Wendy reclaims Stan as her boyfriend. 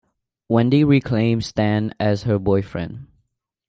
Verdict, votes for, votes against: accepted, 2, 0